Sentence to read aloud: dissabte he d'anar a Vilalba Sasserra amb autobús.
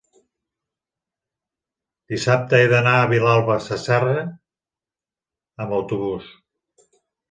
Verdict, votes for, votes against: accepted, 2, 0